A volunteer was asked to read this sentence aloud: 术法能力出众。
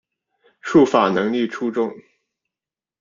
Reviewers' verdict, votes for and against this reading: accepted, 2, 0